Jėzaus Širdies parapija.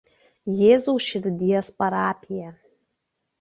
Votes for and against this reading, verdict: 2, 0, accepted